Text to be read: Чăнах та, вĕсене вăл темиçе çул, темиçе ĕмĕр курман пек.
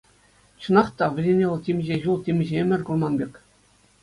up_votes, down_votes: 2, 0